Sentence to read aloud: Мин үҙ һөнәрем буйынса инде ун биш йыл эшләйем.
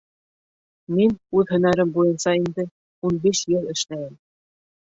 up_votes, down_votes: 1, 2